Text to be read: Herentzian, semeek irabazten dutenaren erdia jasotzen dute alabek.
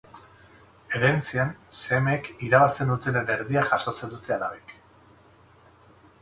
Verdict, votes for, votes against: rejected, 0, 2